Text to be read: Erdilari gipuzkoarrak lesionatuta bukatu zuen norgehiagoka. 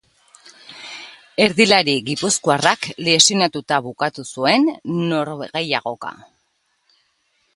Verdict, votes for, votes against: accepted, 3, 0